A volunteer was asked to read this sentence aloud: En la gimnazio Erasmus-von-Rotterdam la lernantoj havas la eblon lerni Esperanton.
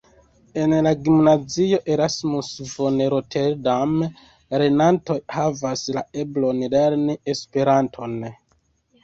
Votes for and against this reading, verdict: 2, 3, rejected